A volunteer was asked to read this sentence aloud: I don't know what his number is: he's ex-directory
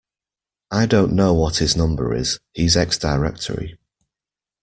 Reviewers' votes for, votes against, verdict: 2, 0, accepted